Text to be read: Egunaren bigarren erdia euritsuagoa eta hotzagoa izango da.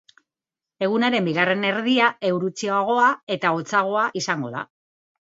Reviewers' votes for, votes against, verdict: 0, 2, rejected